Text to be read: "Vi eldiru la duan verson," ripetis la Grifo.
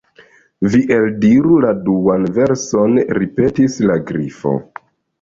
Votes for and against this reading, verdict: 2, 1, accepted